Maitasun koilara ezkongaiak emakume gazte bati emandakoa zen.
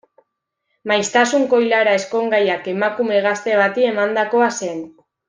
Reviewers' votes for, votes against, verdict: 0, 2, rejected